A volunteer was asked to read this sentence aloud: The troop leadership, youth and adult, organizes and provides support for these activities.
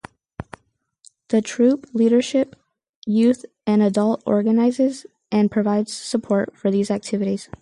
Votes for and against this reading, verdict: 4, 2, accepted